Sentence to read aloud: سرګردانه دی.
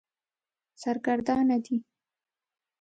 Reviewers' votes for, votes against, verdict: 0, 2, rejected